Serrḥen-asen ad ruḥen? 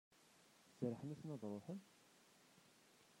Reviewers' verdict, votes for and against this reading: rejected, 0, 2